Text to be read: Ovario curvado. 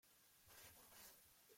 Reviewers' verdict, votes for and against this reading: rejected, 0, 2